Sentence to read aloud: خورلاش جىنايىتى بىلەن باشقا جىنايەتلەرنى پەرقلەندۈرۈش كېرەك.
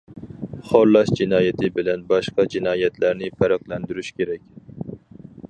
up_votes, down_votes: 4, 0